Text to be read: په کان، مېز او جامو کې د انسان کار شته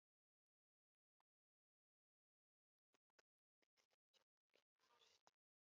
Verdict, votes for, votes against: accepted, 2, 1